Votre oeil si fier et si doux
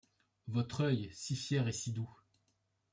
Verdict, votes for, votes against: accepted, 2, 0